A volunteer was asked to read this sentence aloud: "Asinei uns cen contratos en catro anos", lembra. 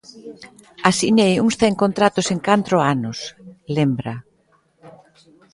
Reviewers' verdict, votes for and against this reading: rejected, 0, 2